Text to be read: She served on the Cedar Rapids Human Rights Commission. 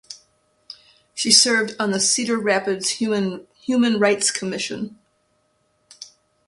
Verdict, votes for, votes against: rejected, 1, 2